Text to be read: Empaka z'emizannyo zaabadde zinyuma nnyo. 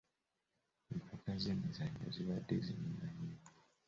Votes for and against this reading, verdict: 0, 2, rejected